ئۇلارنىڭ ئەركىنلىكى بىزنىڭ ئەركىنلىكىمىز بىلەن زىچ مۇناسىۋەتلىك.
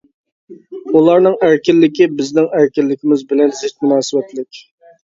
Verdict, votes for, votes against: accepted, 2, 0